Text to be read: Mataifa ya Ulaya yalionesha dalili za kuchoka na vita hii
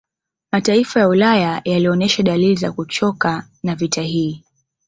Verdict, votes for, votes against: accepted, 2, 0